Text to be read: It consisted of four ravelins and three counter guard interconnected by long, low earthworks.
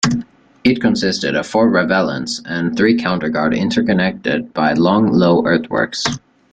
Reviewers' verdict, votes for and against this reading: accepted, 2, 0